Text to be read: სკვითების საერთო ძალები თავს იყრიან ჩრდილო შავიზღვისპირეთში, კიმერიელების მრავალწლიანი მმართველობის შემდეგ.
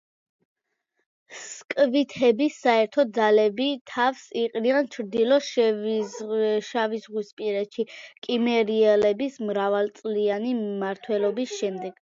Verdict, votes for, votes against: accepted, 2, 1